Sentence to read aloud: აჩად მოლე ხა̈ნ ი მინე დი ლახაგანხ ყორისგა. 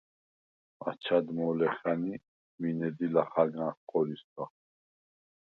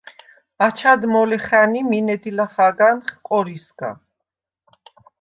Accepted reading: first